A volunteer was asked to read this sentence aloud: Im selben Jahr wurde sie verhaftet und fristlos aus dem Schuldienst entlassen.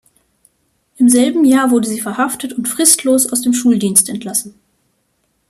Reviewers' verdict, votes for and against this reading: accepted, 2, 0